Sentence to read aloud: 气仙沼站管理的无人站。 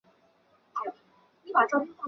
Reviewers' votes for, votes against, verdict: 1, 7, rejected